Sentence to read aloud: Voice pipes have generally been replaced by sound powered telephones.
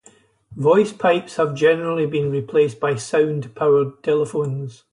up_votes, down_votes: 2, 0